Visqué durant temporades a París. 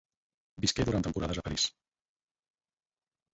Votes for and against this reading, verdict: 0, 4, rejected